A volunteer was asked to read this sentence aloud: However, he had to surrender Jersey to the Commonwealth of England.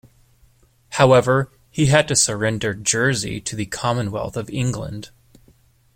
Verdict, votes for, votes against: accepted, 2, 0